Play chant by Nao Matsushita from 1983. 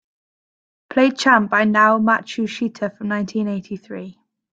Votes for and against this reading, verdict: 0, 2, rejected